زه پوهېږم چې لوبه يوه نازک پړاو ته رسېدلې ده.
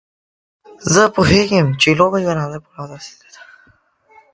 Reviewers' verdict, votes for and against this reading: rejected, 1, 2